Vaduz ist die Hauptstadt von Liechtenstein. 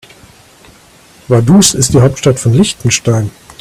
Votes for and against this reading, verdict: 1, 2, rejected